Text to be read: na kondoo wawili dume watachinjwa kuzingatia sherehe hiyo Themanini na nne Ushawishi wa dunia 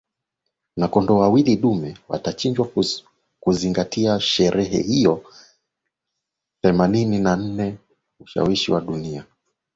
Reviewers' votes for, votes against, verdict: 1, 2, rejected